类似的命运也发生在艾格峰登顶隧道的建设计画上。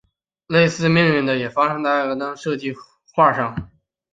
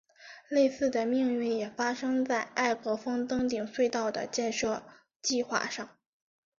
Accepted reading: second